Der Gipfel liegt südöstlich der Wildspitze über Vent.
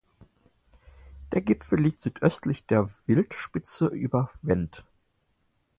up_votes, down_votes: 4, 0